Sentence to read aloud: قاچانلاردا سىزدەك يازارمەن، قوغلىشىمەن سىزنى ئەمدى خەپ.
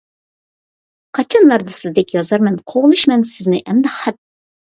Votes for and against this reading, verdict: 2, 0, accepted